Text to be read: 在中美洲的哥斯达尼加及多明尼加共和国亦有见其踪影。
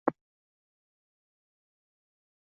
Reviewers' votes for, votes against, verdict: 0, 3, rejected